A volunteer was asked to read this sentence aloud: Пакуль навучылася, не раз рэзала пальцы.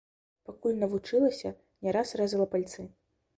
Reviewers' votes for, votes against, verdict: 2, 1, accepted